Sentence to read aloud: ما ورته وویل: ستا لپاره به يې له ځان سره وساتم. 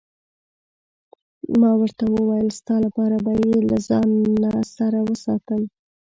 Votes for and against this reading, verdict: 1, 2, rejected